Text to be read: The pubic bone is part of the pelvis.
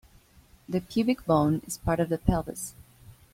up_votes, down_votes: 1, 2